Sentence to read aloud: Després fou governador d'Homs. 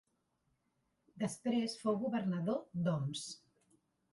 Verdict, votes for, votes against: rejected, 1, 2